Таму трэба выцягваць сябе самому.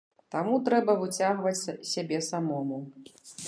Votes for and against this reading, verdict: 0, 2, rejected